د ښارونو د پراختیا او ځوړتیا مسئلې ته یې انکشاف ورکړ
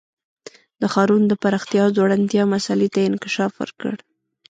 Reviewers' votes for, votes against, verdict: 1, 2, rejected